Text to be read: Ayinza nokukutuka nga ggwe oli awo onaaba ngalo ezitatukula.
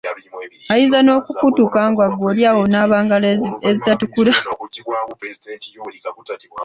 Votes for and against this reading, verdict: 0, 2, rejected